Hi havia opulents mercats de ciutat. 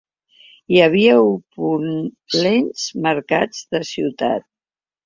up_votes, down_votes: 2, 3